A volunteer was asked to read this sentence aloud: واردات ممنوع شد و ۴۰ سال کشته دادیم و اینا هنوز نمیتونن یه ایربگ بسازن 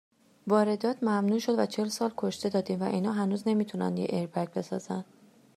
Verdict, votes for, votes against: rejected, 0, 2